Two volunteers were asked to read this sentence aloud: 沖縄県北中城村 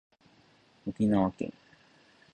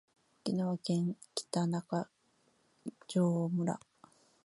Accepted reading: second